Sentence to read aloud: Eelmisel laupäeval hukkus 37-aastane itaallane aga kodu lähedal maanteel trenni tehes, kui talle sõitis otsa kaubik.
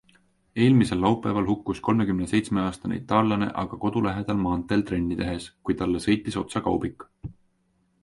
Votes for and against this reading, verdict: 0, 2, rejected